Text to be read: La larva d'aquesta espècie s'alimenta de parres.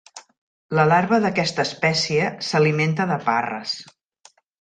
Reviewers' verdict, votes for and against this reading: accepted, 3, 0